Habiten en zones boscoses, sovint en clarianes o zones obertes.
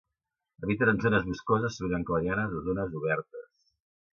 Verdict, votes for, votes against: rejected, 0, 2